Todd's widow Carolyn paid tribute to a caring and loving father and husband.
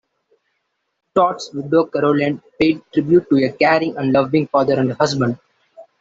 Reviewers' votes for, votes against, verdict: 2, 0, accepted